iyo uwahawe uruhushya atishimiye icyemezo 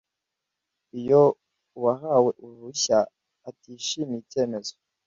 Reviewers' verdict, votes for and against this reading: accepted, 2, 0